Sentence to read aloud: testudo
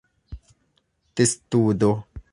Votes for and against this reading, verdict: 2, 1, accepted